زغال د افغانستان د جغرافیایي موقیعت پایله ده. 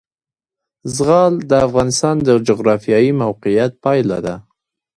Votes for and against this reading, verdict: 2, 1, accepted